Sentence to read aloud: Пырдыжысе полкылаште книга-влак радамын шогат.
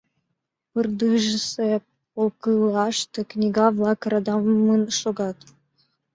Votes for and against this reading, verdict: 2, 1, accepted